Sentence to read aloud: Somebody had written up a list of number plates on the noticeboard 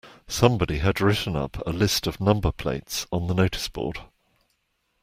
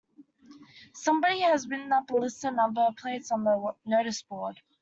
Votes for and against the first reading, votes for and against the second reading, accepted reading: 2, 1, 0, 2, first